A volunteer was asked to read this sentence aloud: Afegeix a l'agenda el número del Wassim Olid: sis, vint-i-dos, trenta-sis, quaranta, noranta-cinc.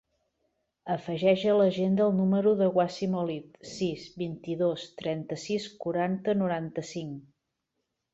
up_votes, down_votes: 1, 2